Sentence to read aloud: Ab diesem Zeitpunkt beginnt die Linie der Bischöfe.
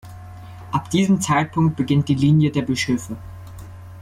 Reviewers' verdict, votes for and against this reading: accepted, 2, 0